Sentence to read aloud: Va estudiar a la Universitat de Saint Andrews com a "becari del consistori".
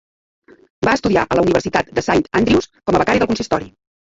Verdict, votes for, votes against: accepted, 2, 1